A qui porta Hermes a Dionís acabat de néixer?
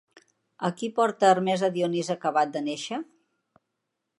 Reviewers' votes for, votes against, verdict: 2, 1, accepted